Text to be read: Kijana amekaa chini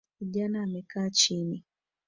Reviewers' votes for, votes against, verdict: 0, 2, rejected